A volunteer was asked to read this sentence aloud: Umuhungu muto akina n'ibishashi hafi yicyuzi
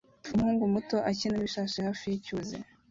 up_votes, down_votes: 2, 0